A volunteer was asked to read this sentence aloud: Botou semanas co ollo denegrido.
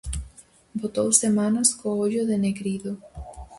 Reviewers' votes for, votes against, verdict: 4, 0, accepted